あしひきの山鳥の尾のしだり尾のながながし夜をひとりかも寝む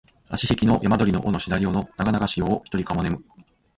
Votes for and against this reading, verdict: 2, 0, accepted